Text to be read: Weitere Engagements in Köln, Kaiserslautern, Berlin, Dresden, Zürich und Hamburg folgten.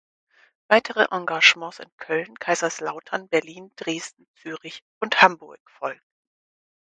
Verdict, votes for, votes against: accepted, 4, 0